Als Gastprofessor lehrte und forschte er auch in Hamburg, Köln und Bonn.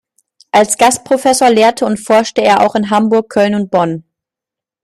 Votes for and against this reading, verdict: 2, 0, accepted